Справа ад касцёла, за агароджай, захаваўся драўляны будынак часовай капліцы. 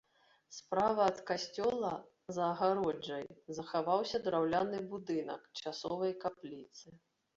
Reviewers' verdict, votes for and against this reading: accepted, 2, 0